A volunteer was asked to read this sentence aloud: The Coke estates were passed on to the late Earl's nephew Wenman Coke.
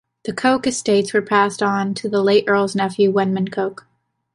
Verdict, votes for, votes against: accepted, 2, 0